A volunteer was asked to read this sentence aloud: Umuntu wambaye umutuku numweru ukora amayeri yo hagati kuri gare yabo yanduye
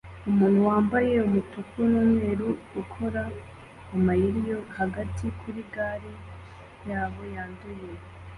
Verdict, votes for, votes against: accepted, 2, 0